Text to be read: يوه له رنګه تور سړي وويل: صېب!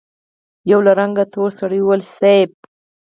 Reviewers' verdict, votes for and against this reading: rejected, 0, 4